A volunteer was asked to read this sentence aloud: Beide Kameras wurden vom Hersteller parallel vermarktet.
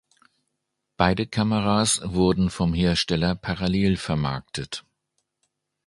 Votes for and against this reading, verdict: 3, 0, accepted